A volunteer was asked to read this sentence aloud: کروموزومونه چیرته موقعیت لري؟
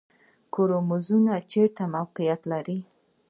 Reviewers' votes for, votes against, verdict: 1, 2, rejected